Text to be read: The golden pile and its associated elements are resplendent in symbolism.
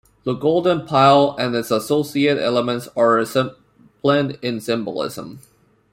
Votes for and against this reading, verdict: 0, 2, rejected